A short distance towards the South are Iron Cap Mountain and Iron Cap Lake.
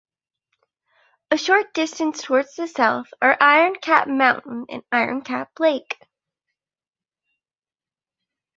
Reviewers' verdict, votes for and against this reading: accepted, 2, 0